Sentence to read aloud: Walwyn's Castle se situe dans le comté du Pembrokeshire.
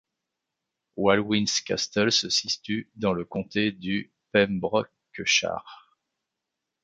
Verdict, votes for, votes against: rejected, 0, 2